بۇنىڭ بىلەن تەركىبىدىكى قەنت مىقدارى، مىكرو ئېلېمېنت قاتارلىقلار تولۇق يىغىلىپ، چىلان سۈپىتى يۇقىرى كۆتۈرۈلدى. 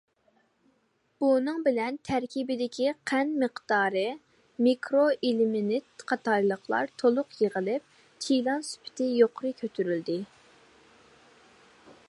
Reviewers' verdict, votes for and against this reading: accepted, 2, 0